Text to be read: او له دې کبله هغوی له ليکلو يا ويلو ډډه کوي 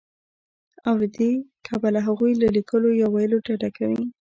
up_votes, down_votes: 0, 2